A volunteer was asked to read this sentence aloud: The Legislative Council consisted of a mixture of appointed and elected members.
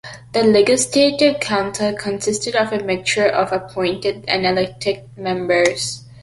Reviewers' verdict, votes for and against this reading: accepted, 2, 1